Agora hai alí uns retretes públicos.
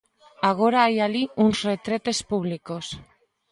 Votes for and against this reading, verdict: 2, 0, accepted